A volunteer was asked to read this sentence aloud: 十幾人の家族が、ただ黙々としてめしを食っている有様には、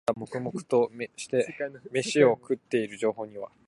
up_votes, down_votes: 1, 3